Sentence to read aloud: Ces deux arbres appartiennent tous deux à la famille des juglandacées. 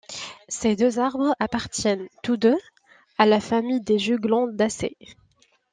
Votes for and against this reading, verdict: 2, 0, accepted